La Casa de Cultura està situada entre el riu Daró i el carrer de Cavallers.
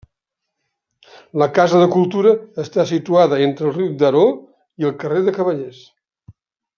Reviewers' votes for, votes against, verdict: 2, 0, accepted